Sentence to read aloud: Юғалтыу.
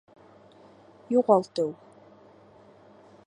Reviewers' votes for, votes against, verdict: 2, 0, accepted